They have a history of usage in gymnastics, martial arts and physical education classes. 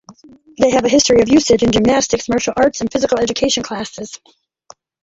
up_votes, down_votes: 0, 2